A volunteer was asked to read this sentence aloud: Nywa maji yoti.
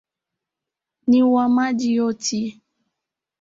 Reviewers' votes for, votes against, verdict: 2, 3, rejected